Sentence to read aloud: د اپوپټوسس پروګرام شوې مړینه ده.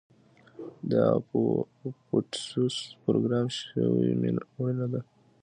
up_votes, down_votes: 2, 0